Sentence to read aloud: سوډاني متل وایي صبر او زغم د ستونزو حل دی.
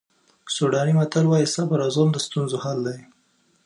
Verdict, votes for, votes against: accepted, 2, 0